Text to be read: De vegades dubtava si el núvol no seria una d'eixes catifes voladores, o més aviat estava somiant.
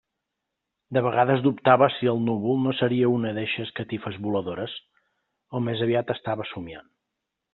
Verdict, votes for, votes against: accepted, 2, 0